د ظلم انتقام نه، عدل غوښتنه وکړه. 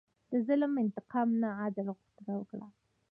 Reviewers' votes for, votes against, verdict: 2, 1, accepted